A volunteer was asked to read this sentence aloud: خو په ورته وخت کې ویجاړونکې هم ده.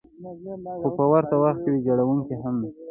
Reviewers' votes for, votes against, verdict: 2, 0, accepted